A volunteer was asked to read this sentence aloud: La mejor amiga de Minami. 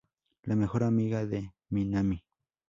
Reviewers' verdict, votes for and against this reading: accepted, 2, 0